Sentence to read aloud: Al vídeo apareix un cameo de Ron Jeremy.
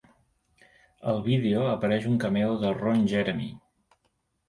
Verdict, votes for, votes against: accepted, 2, 0